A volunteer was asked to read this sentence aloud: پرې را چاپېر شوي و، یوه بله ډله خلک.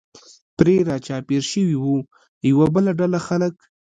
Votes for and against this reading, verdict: 1, 2, rejected